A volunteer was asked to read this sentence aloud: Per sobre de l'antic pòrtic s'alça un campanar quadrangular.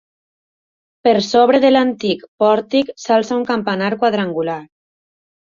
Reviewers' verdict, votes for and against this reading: accepted, 2, 0